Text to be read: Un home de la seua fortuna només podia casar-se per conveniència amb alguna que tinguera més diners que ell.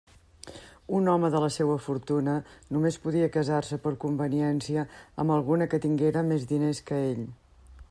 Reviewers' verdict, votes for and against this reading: accepted, 3, 0